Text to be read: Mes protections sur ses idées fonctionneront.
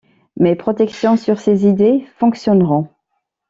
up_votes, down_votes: 2, 0